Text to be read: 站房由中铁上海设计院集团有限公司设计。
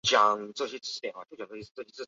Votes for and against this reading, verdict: 0, 4, rejected